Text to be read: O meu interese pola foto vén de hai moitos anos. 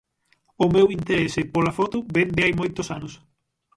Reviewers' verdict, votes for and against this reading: rejected, 0, 6